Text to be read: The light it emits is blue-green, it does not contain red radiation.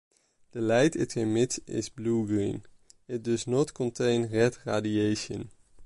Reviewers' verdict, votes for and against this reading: accepted, 2, 0